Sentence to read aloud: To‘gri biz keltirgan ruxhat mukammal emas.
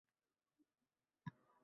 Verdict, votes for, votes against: rejected, 0, 2